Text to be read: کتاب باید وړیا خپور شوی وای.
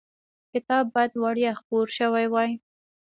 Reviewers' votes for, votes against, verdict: 2, 0, accepted